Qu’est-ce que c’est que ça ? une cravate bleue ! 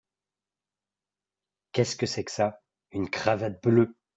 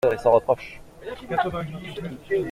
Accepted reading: first